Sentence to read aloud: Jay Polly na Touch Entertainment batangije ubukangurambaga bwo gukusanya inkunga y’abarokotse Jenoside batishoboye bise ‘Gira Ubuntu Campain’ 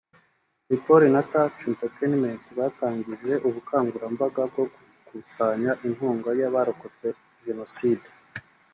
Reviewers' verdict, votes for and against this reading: rejected, 0, 3